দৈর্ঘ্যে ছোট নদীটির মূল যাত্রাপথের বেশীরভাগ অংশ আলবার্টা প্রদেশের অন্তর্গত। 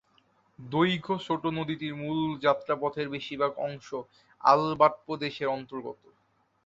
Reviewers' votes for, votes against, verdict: 0, 2, rejected